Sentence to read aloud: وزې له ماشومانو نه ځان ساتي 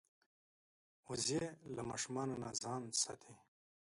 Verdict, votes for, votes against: accepted, 2, 1